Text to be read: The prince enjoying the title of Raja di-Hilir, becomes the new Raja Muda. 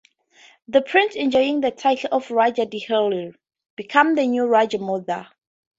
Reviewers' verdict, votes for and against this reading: accepted, 4, 0